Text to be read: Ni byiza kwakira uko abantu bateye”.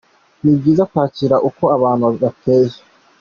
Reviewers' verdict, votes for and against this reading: accepted, 2, 0